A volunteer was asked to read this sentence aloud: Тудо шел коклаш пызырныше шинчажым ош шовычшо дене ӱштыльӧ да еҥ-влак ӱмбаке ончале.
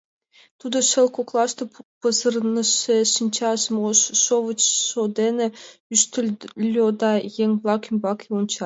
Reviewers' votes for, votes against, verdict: 2, 0, accepted